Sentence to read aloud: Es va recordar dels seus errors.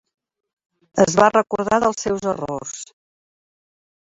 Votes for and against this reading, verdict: 3, 1, accepted